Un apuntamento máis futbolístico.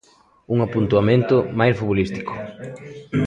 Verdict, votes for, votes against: rejected, 0, 2